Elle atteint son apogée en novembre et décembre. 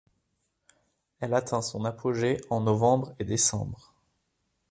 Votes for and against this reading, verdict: 2, 0, accepted